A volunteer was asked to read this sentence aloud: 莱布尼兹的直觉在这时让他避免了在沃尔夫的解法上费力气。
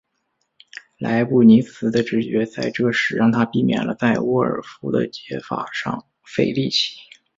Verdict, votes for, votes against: accepted, 2, 0